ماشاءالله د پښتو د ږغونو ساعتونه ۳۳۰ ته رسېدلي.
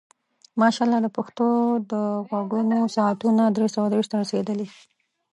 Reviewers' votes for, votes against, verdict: 0, 2, rejected